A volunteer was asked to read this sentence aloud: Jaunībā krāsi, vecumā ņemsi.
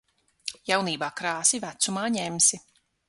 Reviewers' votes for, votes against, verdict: 6, 0, accepted